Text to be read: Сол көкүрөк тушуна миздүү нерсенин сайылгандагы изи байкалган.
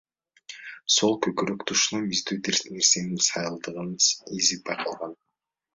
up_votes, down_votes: 2, 0